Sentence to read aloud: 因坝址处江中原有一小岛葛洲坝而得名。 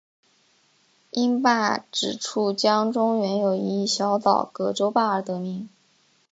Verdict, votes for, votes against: accepted, 2, 0